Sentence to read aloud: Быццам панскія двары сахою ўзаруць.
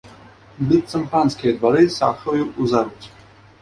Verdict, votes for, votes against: rejected, 0, 2